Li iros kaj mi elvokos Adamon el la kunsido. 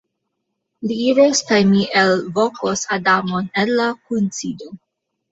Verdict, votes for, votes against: accepted, 3, 2